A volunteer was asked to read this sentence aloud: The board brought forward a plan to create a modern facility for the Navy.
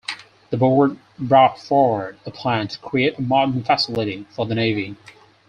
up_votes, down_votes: 4, 2